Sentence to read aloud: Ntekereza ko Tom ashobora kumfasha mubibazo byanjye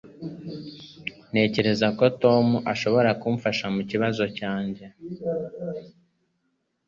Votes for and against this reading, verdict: 1, 3, rejected